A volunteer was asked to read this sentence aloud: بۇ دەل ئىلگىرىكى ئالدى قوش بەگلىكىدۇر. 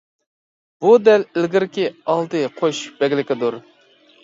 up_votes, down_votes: 2, 0